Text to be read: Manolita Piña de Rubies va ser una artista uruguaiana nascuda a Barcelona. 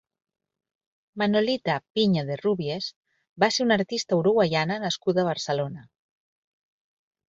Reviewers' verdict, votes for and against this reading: accepted, 4, 0